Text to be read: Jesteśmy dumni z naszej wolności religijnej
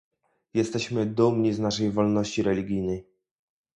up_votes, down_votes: 0, 2